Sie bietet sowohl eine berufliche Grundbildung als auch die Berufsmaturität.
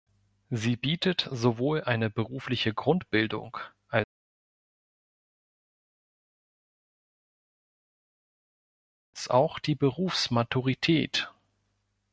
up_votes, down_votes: 1, 2